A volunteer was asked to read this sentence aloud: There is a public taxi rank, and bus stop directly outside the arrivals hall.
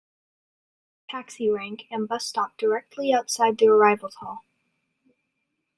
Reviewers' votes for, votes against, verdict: 0, 2, rejected